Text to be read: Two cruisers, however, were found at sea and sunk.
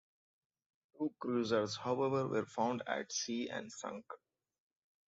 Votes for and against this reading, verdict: 2, 0, accepted